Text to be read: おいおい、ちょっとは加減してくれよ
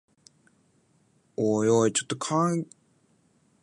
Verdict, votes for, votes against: rejected, 0, 2